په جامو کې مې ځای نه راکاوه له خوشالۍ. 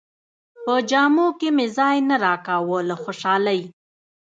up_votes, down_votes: 2, 0